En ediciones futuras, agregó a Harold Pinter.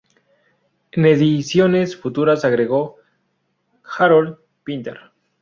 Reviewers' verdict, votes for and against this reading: rejected, 0, 2